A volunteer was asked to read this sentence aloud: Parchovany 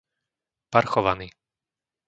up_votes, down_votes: 2, 0